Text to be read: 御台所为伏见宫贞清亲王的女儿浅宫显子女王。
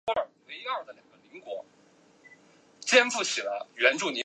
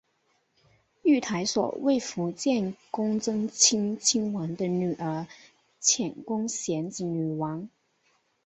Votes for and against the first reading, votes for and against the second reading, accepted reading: 0, 2, 2, 0, second